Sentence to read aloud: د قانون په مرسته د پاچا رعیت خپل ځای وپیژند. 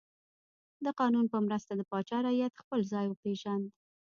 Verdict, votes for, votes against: rejected, 1, 2